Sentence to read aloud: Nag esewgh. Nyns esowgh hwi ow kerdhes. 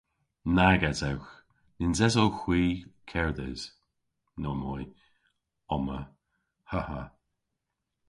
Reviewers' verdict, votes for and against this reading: rejected, 0, 2